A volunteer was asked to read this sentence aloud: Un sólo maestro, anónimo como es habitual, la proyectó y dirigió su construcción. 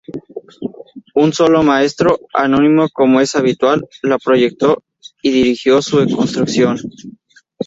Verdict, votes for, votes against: rejected, 0, 2